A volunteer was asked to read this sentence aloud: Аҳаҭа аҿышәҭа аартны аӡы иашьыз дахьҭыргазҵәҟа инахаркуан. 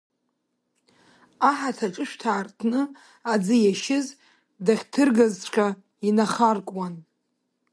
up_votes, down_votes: 2, 1